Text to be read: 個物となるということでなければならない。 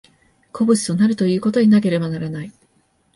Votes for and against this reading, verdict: 2, 1, accepted